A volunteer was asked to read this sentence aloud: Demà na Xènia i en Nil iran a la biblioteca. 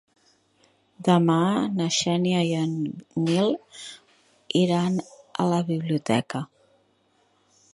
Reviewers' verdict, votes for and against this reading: accepted, 3, 0